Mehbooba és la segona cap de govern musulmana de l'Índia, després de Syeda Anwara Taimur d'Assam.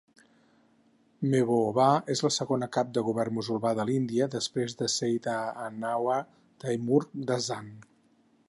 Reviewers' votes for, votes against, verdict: 0, 6, rejected